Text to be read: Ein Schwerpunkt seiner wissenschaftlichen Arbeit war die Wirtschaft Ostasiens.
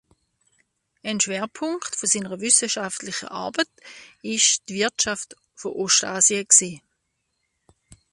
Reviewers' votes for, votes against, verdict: 0, 2, rejected